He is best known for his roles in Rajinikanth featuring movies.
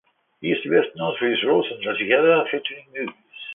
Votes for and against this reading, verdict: 2, 4, rejected